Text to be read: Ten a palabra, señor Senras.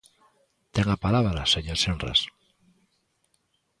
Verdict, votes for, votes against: accepted, 2, 0